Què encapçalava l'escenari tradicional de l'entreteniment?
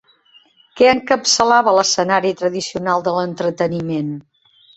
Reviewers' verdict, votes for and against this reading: accepted, 2, 0